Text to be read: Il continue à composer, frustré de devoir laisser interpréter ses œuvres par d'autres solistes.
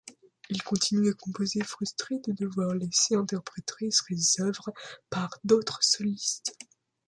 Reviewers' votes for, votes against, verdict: 1, 2, rejected